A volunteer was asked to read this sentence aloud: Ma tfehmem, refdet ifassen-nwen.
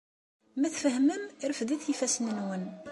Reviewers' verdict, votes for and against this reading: accepted, 2, 0